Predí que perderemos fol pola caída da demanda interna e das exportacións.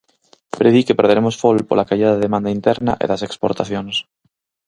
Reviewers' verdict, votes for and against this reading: accepted, 4, 0